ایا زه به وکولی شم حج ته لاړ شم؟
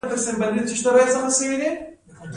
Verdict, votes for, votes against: accepted, 2, 1